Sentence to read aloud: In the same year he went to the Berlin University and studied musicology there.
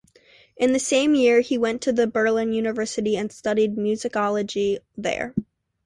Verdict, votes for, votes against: accepted, 2, 0